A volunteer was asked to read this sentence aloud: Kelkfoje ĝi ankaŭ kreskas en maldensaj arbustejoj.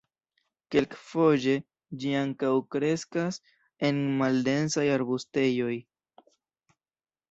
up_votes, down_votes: 1, 2